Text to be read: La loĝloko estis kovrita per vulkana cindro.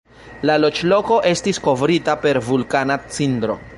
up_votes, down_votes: 2, 0